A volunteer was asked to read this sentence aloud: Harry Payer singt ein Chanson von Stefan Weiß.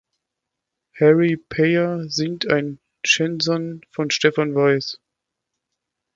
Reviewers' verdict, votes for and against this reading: rejected, 1, 2